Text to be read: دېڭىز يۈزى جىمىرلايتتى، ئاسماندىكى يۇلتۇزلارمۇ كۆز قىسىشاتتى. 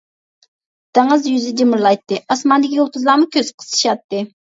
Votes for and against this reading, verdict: 2, 1, accepted